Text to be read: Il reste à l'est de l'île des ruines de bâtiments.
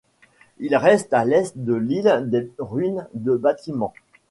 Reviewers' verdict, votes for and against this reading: accepted, 2, 1